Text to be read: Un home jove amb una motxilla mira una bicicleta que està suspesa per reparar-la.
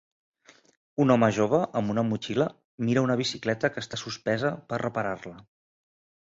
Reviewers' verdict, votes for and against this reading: accepted, 2, 0